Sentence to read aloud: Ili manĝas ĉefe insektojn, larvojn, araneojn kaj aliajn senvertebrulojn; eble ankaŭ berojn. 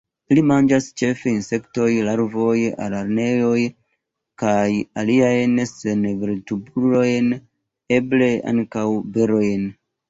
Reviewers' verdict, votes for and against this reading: rejected, 1, 3